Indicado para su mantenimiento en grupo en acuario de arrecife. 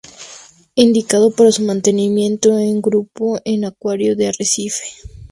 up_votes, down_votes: 0, 2